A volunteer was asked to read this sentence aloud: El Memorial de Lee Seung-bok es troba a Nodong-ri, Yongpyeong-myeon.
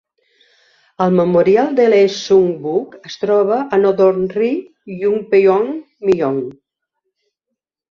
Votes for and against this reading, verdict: 2, 1, accepted